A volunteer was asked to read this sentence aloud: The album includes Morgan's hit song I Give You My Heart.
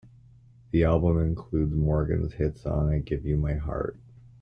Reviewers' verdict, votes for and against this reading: rejected, 0, 2